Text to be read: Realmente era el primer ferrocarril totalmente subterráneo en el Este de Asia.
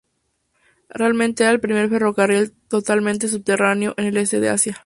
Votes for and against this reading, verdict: 2, 2, rejected